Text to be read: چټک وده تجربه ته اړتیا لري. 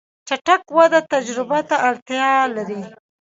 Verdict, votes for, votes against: rejected, 1, 2